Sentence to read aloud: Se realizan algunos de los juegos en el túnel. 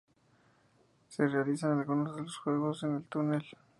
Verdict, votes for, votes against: accepted, 2, 0